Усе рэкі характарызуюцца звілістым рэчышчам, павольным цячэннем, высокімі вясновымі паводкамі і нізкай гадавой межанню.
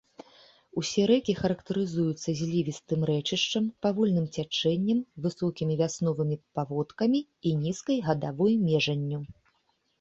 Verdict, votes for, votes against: accepted, 2, 0